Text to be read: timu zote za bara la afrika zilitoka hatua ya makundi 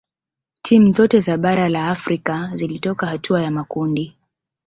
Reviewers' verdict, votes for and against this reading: accepted, 2, 0